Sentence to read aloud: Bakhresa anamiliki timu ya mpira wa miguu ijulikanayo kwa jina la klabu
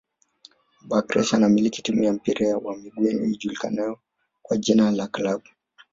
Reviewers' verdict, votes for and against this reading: rejected, 1, 2